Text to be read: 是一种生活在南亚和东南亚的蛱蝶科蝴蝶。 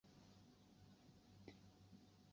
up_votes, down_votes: 0, 3